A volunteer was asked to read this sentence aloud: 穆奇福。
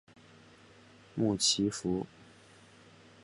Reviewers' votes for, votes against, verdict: 6, 2, accepted